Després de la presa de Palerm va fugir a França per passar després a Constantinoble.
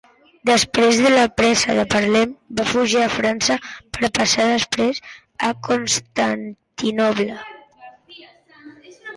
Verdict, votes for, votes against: accepted, 2, 1